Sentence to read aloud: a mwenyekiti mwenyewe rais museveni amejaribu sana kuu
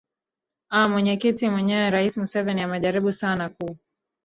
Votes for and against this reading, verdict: 0, 2, rejected